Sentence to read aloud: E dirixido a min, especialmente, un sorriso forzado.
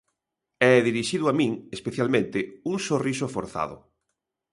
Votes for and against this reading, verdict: 2, 0, accepted